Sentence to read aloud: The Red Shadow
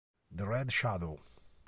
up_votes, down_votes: 2, 1